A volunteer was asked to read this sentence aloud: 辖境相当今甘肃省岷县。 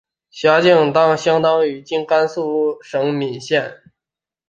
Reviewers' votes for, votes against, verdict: 0, 2, rejected